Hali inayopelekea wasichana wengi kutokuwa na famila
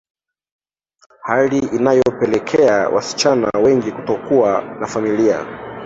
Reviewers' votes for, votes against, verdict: 2, 1, accepted